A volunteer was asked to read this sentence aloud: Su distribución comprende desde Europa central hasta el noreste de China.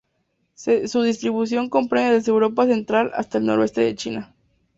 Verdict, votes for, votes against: rejected, 0, 2